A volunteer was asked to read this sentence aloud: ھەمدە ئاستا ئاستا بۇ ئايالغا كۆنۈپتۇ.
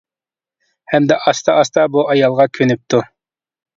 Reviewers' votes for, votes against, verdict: 2, 0, accepted